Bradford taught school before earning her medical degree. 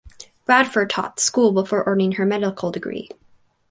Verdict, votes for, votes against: accepted, 4, 0